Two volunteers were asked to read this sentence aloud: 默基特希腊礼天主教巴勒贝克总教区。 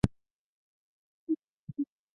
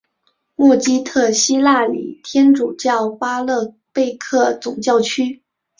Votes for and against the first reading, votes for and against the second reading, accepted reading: 0, 2, 2, 1, second